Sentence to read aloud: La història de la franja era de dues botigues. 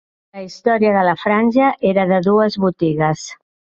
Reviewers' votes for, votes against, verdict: 3, 0, accepted